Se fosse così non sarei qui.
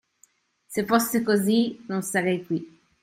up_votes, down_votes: 3, 0